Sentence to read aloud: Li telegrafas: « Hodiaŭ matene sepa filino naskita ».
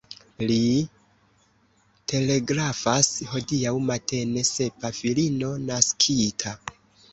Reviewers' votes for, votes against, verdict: 0, 2, rejected